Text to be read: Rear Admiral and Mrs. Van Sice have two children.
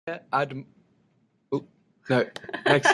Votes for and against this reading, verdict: 0, 2, rejected